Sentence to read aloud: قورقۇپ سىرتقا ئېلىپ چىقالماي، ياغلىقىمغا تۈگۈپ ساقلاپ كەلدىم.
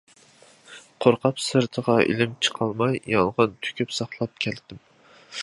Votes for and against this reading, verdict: 0, 2, rejected